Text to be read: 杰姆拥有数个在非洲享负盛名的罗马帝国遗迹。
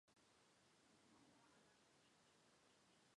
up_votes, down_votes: 0, 2